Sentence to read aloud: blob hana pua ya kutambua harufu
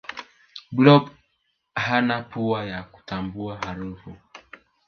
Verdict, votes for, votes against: rejected, 1, 2